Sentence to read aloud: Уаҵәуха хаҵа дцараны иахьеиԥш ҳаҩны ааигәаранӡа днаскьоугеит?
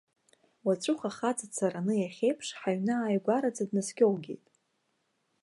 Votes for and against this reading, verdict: 1, 2, rejected